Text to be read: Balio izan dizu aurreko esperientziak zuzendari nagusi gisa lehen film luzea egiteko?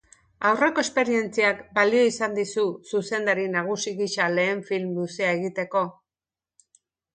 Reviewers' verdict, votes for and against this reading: accepted, 2, 0